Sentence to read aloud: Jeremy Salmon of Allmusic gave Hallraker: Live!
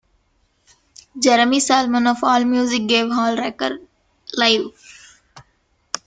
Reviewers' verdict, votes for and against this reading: accepted, 2, 0